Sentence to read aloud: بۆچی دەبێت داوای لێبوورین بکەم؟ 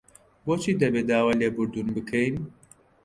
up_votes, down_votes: 0, 2